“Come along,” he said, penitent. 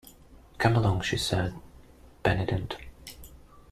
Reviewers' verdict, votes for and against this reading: rejected, 1, 2